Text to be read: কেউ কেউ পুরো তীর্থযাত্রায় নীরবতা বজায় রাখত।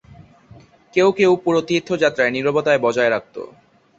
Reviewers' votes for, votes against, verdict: 0, 2, rejected